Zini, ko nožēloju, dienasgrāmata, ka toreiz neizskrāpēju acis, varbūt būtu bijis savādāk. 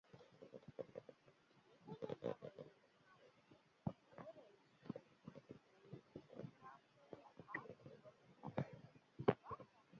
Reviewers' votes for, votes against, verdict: 0, 8, rejected